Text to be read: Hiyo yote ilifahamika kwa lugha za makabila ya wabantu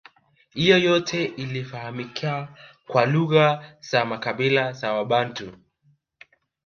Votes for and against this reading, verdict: 2, 0, accepted